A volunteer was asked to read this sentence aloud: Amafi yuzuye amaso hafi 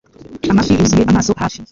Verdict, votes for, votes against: rejected, 1, 2